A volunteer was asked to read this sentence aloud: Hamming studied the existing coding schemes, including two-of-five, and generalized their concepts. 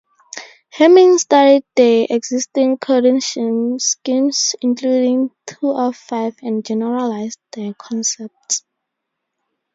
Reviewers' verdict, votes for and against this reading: rejected, 0, 2